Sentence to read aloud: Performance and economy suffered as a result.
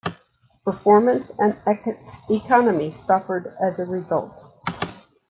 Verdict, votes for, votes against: rejected, 0, 2